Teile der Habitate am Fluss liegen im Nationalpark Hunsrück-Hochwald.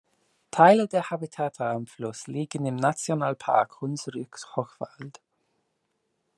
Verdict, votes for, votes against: rejected, 1, 2